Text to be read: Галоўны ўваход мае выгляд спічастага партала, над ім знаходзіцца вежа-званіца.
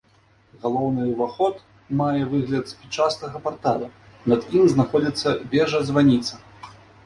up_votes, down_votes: 2, 0